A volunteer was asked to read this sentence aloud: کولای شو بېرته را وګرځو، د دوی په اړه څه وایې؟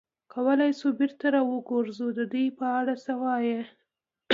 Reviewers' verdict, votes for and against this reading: accepted, 2, 0